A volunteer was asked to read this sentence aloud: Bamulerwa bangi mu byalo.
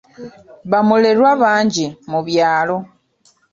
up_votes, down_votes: 0, 2